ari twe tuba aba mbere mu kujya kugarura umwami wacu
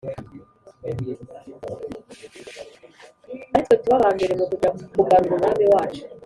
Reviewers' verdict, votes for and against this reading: rejected, 2, 3